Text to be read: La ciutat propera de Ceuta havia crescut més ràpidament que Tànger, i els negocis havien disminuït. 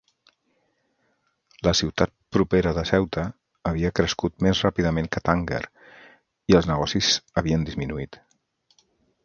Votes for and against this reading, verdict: 0, 3, rejected